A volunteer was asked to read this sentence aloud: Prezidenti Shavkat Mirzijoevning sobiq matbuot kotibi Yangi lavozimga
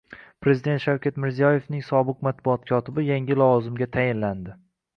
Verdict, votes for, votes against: rejected, 0, 2